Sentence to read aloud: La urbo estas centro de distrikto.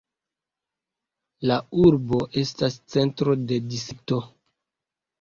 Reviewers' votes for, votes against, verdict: 1, 2, rejected